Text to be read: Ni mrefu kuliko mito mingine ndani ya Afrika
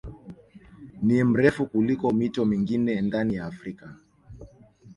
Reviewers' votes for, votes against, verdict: 2, 0, accepted